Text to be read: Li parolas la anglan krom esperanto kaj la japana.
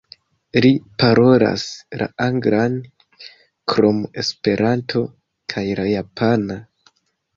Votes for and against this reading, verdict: 2, 1, accepted